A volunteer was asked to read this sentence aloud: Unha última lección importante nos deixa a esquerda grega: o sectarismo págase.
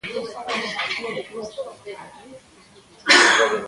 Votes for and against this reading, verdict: 0, 2, rejected